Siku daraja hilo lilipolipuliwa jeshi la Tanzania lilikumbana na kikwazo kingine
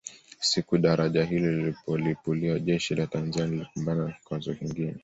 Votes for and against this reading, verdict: 2, 0, accepted